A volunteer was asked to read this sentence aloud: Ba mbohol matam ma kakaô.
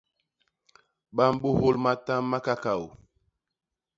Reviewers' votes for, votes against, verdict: 1, 2, rejected